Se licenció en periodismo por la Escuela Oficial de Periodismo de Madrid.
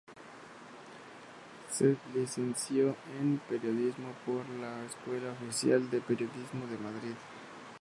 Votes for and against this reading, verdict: 0, 4, rejected